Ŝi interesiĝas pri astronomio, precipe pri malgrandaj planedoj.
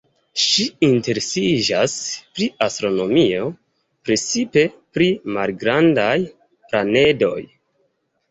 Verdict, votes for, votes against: rejected, 0, 2